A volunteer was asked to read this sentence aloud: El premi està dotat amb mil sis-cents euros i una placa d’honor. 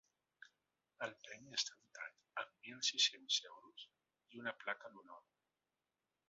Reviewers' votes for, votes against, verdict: 0, 2, rejected